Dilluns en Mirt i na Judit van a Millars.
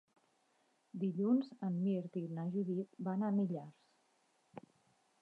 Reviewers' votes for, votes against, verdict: 4, 0, accepted